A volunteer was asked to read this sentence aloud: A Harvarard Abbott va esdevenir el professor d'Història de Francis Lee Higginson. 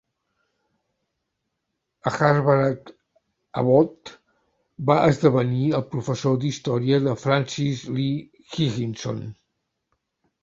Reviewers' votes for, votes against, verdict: 0, 2, rejected